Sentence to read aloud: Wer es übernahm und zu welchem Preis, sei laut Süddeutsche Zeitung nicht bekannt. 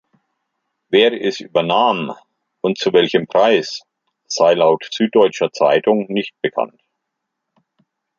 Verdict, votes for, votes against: rejected, 1, 2